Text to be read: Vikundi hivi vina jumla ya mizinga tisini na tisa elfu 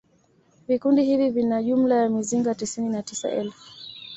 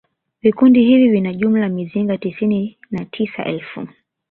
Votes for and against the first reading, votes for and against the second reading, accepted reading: 2, 0, 1, 2, first